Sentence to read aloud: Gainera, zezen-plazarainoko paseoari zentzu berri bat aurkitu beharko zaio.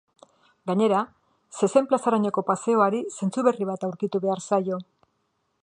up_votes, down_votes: 0, 2